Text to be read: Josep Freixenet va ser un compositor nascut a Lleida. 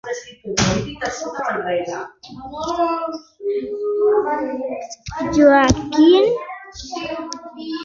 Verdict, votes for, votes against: rejected, 0, 3